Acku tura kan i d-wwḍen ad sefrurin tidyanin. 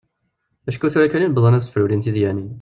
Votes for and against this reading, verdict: 0, 2, rejected